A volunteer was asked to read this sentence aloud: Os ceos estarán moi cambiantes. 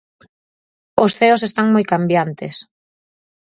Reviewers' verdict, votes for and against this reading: rejected, 0, 4